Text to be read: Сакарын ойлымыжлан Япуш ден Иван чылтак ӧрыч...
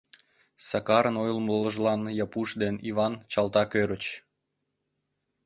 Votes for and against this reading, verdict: 1, 2, rejected